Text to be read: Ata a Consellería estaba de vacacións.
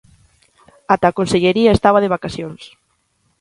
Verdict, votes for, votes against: accepted, 2, 0